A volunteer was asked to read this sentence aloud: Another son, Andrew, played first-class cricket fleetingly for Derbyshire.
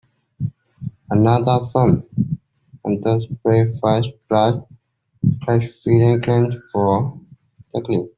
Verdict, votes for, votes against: rejected, 0, 2